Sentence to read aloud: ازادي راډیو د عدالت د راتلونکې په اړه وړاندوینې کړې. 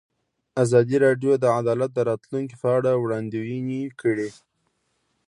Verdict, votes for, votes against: accepted, 2, 0